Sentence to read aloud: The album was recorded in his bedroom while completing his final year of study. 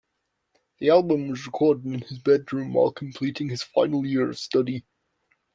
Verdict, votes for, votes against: accepted, 2, 0